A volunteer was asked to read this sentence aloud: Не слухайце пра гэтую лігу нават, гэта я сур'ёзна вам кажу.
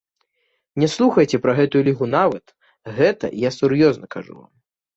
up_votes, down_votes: 1, 2